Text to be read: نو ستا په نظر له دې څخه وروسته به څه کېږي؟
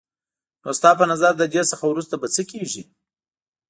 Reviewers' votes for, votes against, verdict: 2, 0, accepted